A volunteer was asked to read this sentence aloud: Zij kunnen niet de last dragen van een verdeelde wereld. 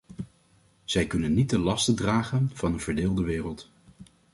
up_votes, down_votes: 1, 2